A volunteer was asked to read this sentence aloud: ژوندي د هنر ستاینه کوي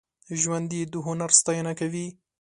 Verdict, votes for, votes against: accepted, 2, 0